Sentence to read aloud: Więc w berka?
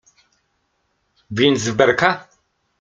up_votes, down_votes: 2, 0